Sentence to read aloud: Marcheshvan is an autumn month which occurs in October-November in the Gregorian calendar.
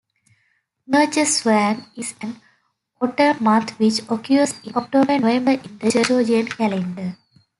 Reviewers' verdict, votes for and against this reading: rejected, 1, 2